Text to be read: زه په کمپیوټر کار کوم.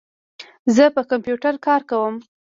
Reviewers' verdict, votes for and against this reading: rejected, 1, 2